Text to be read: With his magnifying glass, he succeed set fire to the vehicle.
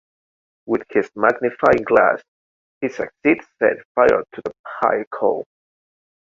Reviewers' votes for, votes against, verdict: 1, 2, rejected